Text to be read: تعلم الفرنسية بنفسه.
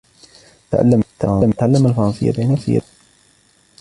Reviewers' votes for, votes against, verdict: 1, 2, rejected